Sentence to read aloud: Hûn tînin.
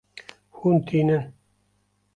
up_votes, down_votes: 2, 0